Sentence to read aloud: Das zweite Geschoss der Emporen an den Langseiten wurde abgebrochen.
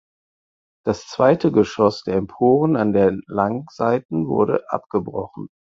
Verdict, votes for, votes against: rejected, 2, 4